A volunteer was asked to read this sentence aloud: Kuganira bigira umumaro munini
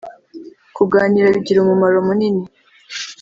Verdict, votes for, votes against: accepted, 2, 0